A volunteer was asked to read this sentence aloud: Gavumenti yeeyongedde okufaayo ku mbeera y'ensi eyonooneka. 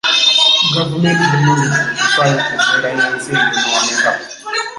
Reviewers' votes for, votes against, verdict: 1, 2, rejected